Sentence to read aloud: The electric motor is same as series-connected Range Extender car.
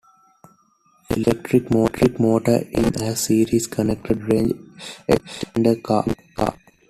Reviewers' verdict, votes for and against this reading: rejected, 1, 2